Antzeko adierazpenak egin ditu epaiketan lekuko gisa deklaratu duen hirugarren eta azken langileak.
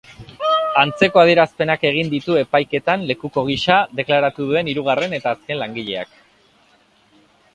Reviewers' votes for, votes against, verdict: 0, 2, rejected